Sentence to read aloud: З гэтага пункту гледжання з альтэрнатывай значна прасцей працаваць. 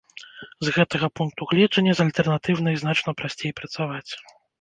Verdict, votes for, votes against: rejected, 1, 2